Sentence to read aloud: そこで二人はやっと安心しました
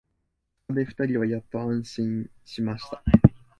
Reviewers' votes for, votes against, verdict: 2, 0, accepted